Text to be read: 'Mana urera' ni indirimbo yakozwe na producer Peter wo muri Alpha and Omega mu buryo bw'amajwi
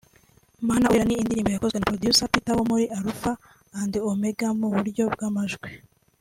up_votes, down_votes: 2, 0